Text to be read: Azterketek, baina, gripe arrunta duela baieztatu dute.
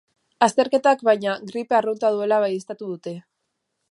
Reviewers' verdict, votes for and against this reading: rejected, 0, 2